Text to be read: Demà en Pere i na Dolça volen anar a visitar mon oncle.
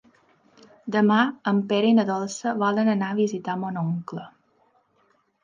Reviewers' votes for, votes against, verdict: 3, 0, accepted